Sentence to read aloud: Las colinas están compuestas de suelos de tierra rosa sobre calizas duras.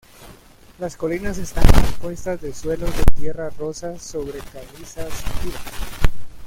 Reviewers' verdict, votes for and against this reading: rejected, 0, 2